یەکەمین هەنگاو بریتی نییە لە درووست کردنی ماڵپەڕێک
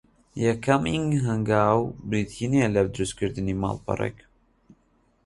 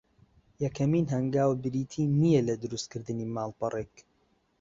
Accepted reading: second